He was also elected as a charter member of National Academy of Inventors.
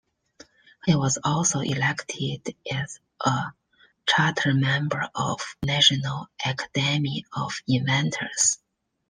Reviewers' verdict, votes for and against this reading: rejected, 0, 2